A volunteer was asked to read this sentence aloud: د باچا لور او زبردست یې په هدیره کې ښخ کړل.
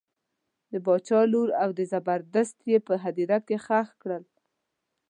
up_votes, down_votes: 0, 2